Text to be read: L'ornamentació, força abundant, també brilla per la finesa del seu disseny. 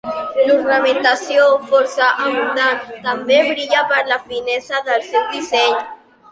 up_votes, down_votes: 0, 2